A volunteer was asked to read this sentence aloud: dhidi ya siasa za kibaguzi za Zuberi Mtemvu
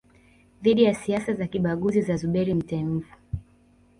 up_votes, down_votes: 2, 1